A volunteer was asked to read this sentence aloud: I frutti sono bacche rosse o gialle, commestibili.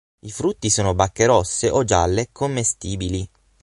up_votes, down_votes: 9, 0